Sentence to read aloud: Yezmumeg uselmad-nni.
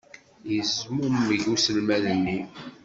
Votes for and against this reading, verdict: 2, 0, accepted